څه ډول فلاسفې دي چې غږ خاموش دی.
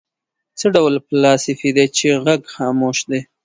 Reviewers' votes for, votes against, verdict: 2, 0, accepted